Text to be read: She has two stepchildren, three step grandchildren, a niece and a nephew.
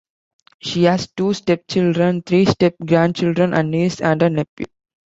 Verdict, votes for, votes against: accepted, 2, 0